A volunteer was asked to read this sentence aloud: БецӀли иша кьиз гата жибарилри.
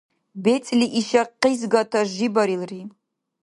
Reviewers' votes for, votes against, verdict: 1, 2, rejected